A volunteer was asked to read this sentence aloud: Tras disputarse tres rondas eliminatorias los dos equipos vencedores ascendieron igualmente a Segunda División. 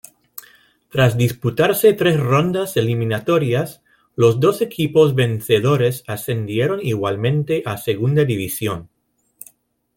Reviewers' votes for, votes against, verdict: 3, 0, accepted